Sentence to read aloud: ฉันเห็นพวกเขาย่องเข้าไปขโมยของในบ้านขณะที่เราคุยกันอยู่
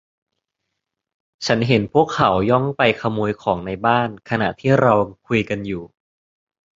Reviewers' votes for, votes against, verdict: 0, 2, rejected